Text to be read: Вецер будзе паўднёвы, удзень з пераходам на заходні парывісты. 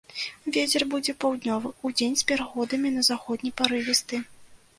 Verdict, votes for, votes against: rejected, 0, 2